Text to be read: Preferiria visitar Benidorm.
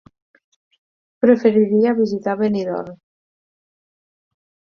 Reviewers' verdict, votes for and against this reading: accepted, 6, 0